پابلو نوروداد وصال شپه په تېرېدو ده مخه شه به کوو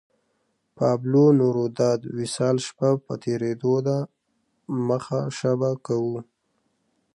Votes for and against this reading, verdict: 0, 2, rejected